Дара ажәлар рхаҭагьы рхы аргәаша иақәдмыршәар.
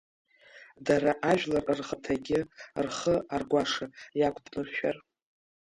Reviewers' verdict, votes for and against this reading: rejected, 0, 2